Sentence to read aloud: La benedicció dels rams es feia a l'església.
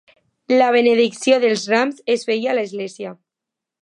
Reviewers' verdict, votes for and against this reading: accepted, 2, 0